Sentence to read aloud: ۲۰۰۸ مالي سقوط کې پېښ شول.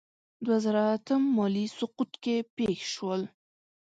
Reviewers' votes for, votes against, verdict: 0, 2, rejected